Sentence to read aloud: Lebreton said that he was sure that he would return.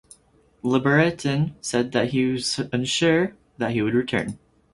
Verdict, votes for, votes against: rejected, 0, 4